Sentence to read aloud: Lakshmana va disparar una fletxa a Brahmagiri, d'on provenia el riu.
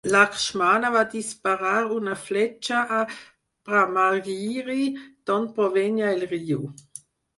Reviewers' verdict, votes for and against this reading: rejected, 0, 4